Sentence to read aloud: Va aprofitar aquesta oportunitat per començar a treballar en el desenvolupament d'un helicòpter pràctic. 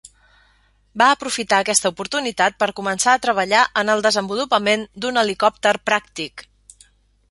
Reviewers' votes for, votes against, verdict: 3, 0, accepted